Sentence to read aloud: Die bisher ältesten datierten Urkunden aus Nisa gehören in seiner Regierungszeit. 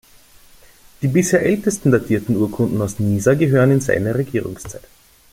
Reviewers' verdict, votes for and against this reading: accepted, 2, 0